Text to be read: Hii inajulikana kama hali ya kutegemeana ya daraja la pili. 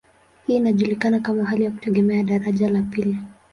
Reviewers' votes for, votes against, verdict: 2, 0, accepted